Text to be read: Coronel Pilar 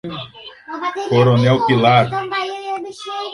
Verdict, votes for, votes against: rejected, 0, 2